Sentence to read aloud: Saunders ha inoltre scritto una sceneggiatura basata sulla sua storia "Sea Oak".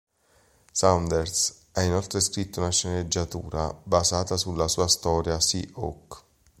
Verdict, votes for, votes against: accepted, 4, 0